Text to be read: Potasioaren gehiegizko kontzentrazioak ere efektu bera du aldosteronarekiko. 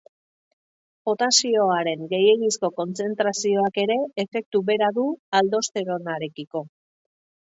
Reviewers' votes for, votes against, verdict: 2, 0, accepted